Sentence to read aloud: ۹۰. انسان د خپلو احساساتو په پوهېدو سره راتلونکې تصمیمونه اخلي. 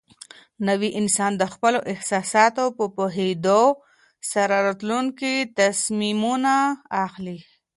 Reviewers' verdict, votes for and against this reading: rejected, 0, 2